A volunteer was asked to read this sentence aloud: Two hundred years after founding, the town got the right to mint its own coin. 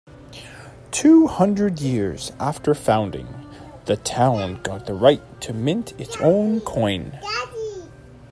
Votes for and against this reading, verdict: 2, 0, accepted